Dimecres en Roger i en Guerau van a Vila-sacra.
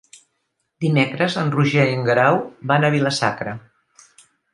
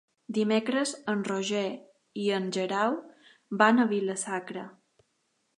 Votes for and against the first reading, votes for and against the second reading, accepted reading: 3, 0, 1, 2, first